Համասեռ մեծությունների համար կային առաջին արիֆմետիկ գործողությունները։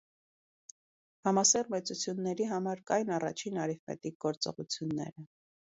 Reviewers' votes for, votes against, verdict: 2, 0, accepted